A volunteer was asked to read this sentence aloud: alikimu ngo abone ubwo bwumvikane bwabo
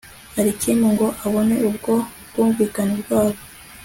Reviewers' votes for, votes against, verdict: 2, 0, accepted